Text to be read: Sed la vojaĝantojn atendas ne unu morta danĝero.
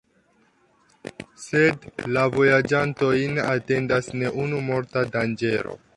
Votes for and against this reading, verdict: 1, 2, rejected